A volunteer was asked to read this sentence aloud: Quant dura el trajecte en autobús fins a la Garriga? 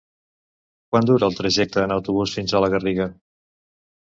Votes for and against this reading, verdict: 2, 0, accepted